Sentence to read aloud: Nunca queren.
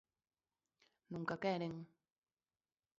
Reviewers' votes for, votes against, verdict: 2, 0, accepted